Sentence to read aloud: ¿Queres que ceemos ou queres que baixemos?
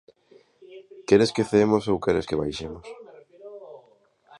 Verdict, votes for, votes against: accepted, 2, 0